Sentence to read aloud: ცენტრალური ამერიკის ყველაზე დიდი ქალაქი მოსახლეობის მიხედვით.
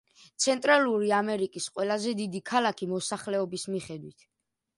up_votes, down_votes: 2, 0